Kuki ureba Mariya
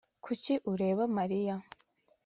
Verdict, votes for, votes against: accepted, 2, 0